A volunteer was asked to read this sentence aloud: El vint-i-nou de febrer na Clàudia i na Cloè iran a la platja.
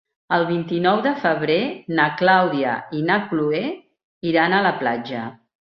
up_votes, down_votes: 3, 0